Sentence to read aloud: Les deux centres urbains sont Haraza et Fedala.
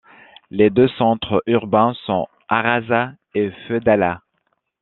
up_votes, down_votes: 1, 2